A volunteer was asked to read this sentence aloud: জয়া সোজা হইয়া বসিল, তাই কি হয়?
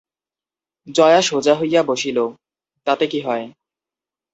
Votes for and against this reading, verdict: 0, 4, rejected